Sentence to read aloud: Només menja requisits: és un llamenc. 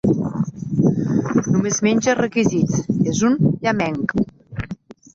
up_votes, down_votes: 4, 0